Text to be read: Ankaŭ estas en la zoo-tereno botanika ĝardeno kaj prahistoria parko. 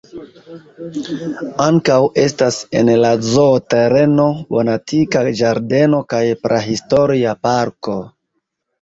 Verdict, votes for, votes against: accepted, 2, 0